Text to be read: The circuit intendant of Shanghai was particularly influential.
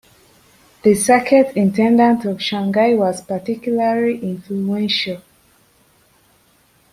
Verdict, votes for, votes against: accepted, 2, 0